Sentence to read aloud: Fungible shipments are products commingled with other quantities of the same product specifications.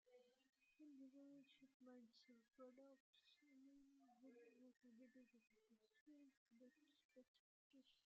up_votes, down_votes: 0, 2